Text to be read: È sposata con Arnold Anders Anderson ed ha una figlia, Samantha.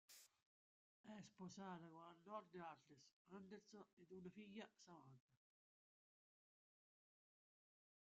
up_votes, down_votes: 0, 2